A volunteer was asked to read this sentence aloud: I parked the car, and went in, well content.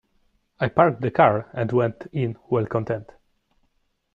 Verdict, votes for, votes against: accepted, 2, 0